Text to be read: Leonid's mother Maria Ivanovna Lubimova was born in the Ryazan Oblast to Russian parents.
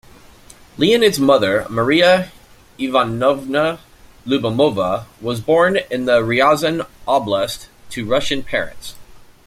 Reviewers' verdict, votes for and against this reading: rejected, 1, 2